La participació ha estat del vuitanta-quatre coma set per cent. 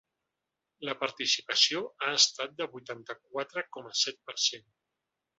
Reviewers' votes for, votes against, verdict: 1, 2, rejected